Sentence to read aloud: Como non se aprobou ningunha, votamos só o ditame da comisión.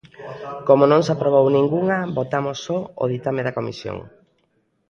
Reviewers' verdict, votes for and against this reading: accepted, 2, 0